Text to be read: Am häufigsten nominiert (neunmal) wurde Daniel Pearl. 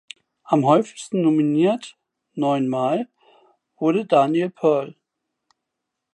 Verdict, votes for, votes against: accepted, 2, 0